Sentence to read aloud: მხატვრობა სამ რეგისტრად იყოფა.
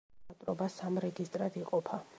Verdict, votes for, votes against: rejected, 1, 2